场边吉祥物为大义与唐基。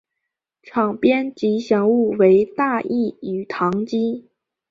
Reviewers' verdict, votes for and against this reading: accepted, 2, 0